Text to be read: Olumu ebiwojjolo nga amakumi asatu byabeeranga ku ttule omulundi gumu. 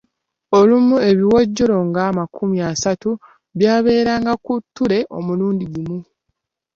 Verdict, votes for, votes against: rejected, 1, 2